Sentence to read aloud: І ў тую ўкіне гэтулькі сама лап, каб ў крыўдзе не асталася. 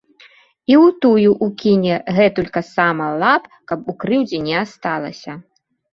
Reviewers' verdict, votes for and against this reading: rejected, 0, 2